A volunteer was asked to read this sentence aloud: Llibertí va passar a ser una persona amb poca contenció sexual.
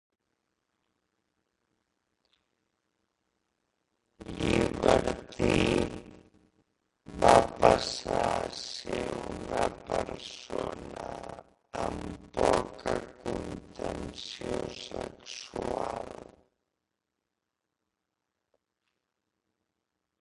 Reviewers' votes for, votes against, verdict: 0, 2, rejected